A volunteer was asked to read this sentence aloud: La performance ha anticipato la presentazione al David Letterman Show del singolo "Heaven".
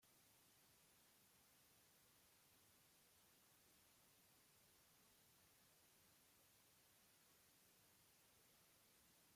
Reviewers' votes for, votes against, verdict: 0, 2, rejected